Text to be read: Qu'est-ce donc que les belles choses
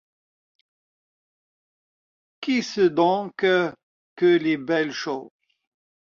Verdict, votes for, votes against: accepted, 2, 1